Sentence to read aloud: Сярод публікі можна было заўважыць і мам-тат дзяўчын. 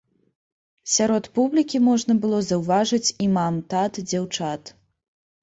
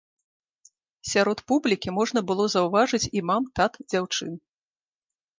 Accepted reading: second